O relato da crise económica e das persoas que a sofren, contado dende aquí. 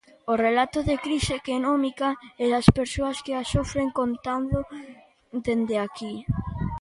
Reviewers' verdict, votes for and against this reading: rejected, 0, 2